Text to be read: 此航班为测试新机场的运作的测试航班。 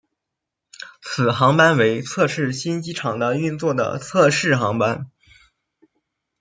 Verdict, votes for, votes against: accepted, 2, 0